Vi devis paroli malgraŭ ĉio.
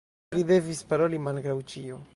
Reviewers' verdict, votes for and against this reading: rejected, 0, 2